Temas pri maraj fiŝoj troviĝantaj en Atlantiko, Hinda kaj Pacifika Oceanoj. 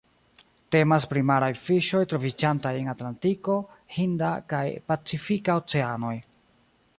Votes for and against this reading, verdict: 1, 2, rejected